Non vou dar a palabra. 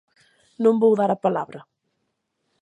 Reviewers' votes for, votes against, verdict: 27, 0, accepted